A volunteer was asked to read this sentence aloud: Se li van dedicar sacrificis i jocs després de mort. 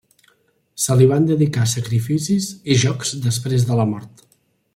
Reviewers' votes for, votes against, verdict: 1, 2, rejected